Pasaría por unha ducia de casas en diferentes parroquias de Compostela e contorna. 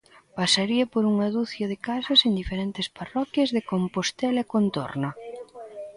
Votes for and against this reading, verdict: 1, 2, rejected